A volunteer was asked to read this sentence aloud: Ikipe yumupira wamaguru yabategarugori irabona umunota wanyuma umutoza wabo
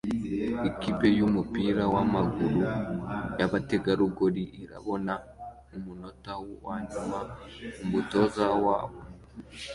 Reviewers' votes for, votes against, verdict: 2, 1, accepted